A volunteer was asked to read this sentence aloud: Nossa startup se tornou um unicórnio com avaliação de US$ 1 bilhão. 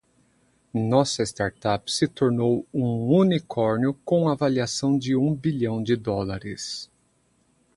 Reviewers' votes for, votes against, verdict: 0, 2, rejected